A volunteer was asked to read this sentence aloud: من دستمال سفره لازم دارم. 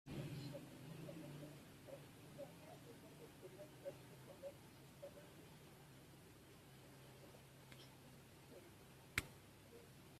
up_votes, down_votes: 1, 2